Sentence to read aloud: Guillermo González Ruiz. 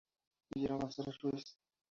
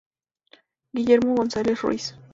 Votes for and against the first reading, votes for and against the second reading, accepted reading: 2, 2, 2, 0, second